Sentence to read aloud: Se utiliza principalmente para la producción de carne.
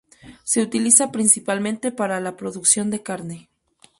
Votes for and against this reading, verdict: 2, 2, rejected